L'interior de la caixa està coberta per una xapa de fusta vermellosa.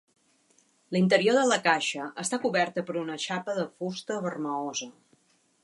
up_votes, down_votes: 0, 2